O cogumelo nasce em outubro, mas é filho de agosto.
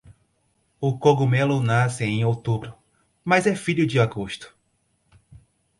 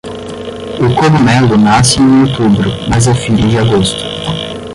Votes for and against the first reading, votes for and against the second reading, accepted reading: 4, 0, 5, 5, first